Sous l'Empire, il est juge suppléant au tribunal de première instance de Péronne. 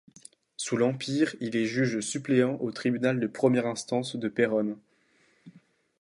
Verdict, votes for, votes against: accepted, 2, 0